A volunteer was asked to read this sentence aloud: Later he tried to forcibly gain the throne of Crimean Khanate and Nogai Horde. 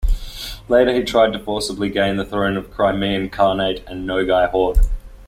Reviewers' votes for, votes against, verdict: 2, 0, accepted